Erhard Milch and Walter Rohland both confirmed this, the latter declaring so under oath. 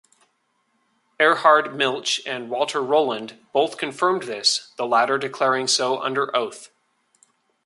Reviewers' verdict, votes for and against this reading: accepted, 2, 0